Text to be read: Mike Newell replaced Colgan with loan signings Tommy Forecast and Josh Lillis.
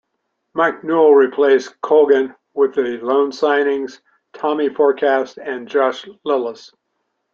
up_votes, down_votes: 1, 2